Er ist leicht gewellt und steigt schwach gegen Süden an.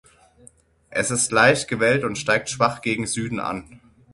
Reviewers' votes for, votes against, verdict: 0, 6, rejected